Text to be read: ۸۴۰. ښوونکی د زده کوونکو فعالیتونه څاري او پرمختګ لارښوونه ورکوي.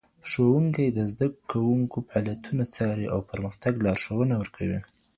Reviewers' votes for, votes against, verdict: 0, 2, rejected